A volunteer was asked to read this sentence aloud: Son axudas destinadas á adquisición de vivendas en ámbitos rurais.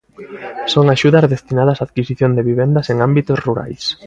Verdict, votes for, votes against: accepted, 2, 0